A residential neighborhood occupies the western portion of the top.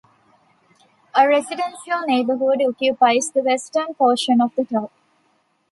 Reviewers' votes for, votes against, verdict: 2, 0, accepted